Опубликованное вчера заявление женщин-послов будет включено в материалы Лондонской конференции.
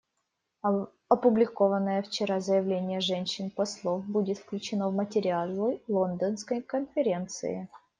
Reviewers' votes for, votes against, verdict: 0, 2, rejected